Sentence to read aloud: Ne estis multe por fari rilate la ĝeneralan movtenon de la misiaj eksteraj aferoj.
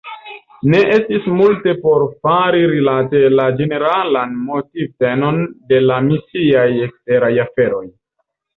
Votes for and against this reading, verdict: 0, 3, rejected